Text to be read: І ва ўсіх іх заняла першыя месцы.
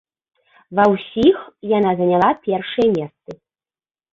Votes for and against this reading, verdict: 0, 2, rejected